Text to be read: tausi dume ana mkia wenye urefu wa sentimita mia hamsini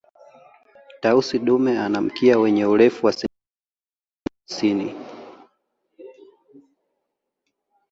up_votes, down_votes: 2, 0